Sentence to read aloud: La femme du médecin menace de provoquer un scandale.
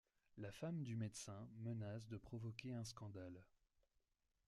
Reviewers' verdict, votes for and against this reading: rejected, 0, 2